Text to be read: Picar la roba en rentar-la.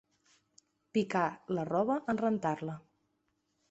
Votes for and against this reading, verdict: 2, 0, accepted